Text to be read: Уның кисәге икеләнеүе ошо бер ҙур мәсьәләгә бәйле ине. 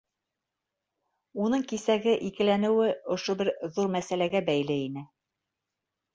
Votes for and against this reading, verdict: 2, 0, accepted